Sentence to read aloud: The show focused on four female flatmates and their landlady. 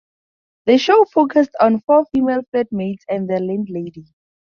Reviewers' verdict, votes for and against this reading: accepted, 4, 0